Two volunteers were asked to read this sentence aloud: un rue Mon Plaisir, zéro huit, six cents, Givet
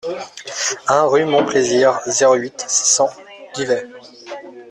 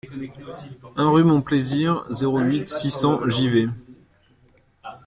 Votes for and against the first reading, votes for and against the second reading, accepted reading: 0, 2, 2, 1, second